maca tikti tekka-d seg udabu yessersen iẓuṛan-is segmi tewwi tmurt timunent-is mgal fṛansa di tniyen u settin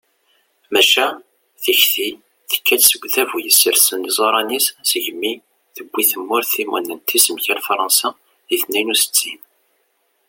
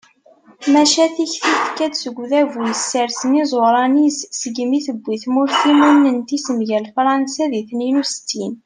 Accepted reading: first